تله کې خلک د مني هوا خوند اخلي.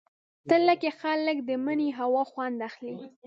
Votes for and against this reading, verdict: 1, 2, rejected